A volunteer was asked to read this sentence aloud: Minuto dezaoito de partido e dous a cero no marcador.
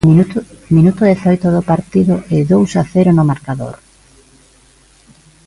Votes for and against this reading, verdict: 0, 2, rejected